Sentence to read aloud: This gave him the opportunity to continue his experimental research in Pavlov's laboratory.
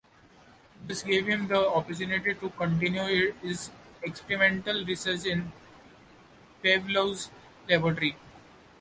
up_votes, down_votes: 2, 0